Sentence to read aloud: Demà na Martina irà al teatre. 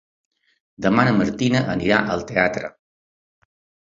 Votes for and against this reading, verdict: 1, 3, rejected